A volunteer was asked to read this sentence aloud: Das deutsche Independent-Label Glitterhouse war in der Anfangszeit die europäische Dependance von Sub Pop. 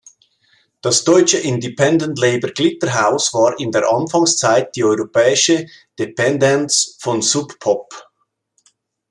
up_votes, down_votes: 2, 1